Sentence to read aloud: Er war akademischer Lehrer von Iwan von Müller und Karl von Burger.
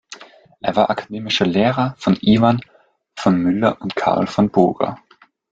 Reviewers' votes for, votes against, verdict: 1, 2, rejected